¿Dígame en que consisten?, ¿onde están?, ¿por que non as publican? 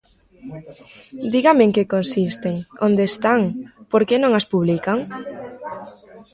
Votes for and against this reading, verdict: 2, 1, accepted